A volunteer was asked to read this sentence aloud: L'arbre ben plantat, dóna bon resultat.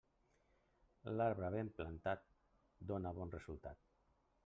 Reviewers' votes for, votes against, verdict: 3, 0, accepted